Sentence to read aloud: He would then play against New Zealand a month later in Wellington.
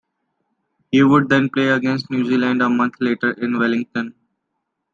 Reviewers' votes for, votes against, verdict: 2, 0, accepted